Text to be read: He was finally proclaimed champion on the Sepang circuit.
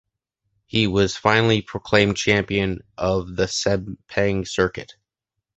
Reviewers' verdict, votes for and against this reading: rejected, 0, 2